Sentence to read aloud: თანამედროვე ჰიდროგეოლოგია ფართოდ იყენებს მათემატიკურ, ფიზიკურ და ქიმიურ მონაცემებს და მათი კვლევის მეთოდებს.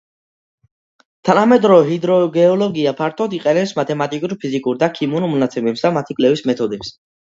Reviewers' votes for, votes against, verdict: 2, 0, accepted